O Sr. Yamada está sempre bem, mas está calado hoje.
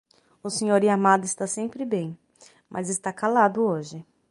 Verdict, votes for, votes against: accepted, 6, 0